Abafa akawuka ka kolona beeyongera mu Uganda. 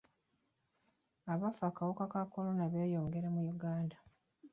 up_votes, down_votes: 2, 0